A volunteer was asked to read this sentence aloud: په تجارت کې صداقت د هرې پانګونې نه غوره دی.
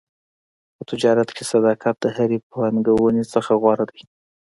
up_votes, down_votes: 2, 1